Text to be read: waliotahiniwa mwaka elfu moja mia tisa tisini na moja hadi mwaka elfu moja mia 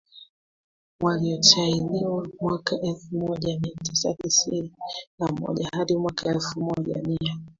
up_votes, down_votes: 2, 1